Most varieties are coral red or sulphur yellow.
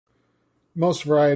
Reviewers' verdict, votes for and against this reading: rejected, 0, 2